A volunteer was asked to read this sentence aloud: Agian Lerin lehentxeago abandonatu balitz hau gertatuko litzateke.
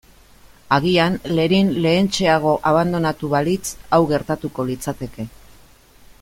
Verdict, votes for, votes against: accepted, 2, 0